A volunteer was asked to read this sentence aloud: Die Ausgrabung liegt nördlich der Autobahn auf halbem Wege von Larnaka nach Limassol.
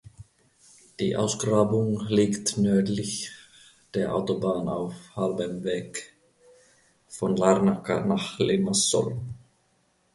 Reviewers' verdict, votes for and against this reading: rejected, 1, 2